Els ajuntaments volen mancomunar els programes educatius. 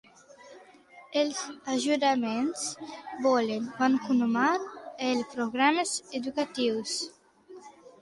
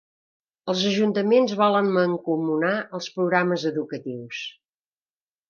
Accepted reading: second